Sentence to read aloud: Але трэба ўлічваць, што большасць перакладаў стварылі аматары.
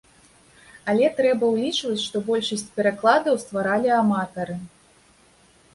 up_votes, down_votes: 0, 2